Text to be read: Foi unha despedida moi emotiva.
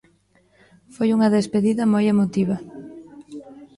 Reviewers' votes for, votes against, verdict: 0, 2, rejected